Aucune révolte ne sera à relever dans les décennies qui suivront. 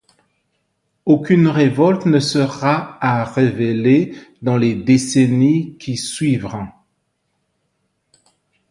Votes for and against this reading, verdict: 0, 2, rejected